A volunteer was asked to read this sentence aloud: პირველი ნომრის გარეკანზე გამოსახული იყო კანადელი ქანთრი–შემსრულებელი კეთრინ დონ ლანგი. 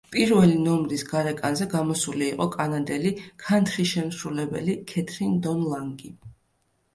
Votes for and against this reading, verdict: 0, 2, rejected